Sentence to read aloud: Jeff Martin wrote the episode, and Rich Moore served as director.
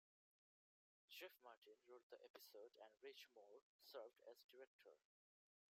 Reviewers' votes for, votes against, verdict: 1, 2, rejected